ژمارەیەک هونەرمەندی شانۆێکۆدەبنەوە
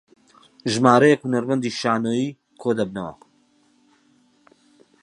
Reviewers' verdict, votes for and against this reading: accepted, 6, 0